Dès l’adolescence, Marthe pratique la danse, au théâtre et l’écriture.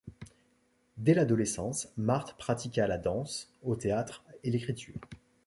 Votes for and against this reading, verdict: 1, 2, rejected